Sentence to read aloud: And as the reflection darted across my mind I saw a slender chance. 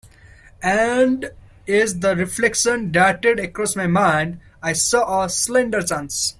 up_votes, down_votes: 2, 1